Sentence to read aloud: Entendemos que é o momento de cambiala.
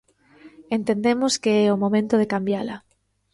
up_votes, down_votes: 2, 0